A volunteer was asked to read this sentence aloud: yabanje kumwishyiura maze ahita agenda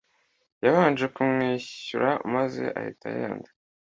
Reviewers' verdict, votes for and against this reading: rejected, 1, 2